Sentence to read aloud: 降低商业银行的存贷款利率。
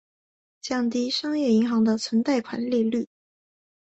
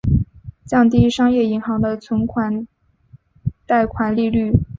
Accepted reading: first